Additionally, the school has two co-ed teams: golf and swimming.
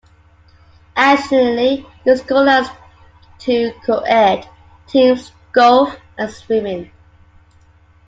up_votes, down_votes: 1, 2